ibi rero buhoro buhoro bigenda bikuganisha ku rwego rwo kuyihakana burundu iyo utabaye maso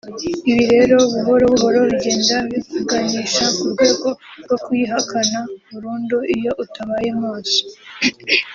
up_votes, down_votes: 3, 1